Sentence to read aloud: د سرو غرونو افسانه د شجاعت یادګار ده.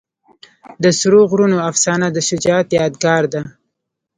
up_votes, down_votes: 2, 0